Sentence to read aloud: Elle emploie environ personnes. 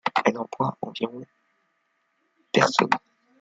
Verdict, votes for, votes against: rejected, 1, 2